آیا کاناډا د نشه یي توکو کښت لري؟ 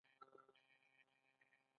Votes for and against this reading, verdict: 0, 2, rejected